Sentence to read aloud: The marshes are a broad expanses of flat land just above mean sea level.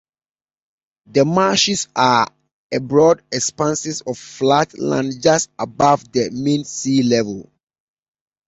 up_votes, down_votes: 1, 2